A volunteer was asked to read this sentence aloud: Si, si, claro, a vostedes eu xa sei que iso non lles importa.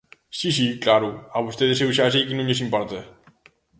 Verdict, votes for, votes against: rejected, 0, 2